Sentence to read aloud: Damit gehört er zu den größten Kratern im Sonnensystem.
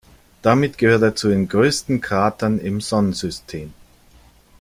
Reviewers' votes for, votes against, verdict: 2, 0, accepted